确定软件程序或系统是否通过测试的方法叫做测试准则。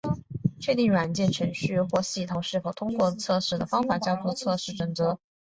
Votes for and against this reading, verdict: 2, 0, accepted